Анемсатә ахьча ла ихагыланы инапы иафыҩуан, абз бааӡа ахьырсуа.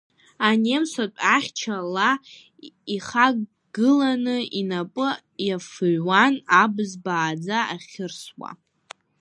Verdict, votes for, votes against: rejected, 0, 2